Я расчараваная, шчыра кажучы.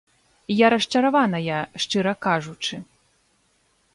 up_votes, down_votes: 2, 0